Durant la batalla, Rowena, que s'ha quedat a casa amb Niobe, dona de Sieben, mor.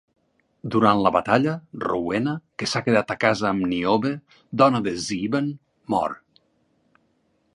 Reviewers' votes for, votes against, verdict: 4, 0, accepted